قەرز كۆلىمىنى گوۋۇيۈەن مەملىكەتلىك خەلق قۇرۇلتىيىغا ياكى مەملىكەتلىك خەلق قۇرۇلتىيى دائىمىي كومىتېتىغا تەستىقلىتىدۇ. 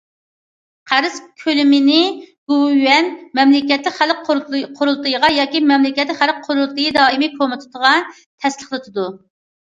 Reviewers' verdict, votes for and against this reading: accepted, 2, 1